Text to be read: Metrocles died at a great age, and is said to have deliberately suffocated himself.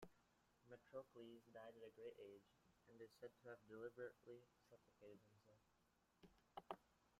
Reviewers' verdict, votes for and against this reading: rejected, 0, 2